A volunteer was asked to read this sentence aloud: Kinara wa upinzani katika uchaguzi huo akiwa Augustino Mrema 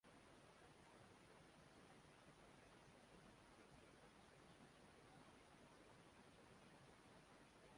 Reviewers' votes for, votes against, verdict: 2, 3, rejected